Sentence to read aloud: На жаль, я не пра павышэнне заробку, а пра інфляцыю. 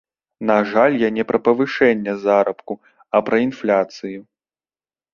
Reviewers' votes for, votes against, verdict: 0, 2, rejected